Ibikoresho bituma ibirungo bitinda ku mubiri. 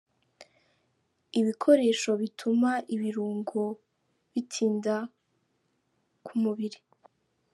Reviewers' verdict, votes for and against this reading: accepted, 3, 0